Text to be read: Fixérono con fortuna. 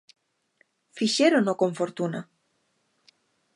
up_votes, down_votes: 2, 0